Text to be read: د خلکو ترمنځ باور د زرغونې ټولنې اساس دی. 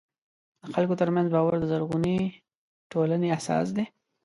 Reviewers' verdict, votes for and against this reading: accepted, 2, 0